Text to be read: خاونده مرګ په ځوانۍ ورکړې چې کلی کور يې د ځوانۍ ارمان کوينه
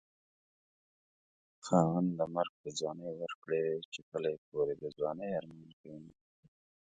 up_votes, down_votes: 2, 0